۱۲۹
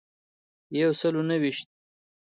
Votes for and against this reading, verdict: 0, 2, rejected